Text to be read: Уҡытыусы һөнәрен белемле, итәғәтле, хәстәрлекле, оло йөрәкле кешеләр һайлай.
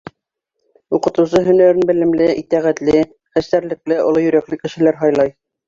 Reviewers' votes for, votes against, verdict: 2, 1, accepted